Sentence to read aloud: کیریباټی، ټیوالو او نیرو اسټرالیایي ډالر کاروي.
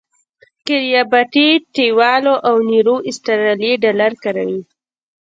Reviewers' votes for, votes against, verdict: 1, 2, rejected